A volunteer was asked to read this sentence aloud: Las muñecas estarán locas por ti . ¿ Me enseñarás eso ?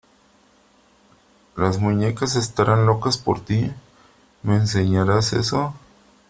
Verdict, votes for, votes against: accepted, 3, 0